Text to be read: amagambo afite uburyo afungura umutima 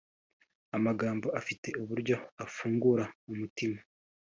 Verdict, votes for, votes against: accepted, 3, 0